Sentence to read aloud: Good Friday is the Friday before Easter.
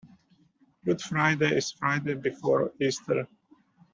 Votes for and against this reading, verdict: 1, 2, rejected